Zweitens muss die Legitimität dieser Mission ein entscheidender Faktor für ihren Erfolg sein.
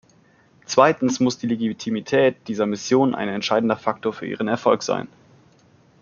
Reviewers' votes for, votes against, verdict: 1, 2, rejected